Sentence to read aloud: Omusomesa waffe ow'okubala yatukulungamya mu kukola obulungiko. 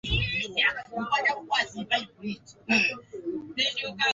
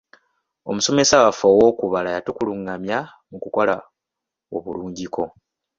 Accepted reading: second